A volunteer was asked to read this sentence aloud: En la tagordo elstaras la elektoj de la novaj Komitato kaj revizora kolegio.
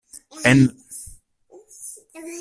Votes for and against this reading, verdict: 0, 2, rejected